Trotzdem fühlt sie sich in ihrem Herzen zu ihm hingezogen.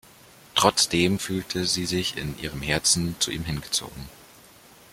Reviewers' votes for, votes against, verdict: 0, 2, rejected